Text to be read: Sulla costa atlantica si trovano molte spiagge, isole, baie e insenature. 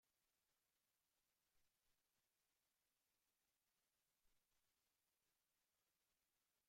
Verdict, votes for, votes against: rejected, 0, 2